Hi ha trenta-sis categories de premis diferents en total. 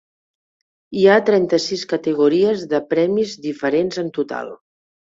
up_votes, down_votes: 4, 0